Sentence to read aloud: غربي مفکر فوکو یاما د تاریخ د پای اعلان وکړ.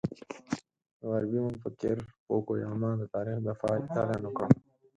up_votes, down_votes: 2, 4